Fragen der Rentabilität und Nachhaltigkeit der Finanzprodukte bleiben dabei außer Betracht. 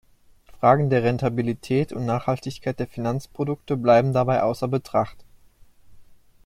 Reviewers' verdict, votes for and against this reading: accepted, 2, 0